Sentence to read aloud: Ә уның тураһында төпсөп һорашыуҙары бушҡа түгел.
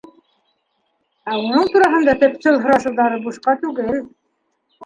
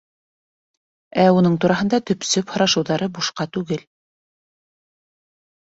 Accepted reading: second